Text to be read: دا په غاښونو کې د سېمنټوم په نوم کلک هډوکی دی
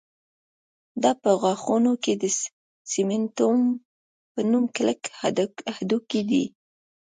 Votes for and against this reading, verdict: 0, 2, rejected